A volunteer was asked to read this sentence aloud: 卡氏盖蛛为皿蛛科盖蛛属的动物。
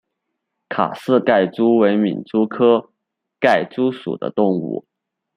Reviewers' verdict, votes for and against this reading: accepted, 2, 0